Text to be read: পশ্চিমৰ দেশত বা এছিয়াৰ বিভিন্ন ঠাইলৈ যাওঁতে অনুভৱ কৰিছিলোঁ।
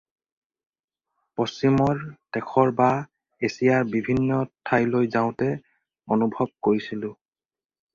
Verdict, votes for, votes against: rejected, 0, 4